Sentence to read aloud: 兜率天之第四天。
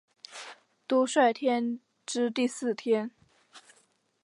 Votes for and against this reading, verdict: 7, 1, accepted